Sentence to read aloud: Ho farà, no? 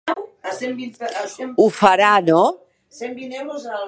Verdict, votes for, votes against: rejected, 1, 2